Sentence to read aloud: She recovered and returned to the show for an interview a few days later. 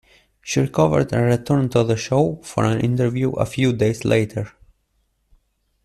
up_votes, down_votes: 1, 2